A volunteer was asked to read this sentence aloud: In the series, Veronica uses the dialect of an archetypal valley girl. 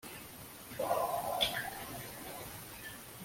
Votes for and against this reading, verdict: 0, 2, rejected